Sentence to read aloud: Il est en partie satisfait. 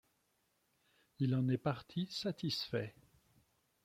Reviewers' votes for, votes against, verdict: 1, 2, rejected